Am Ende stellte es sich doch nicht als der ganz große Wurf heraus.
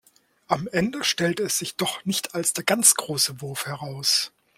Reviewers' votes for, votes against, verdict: 2, 0, accepted